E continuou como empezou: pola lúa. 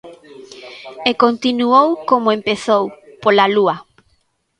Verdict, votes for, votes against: accepted, 2, 1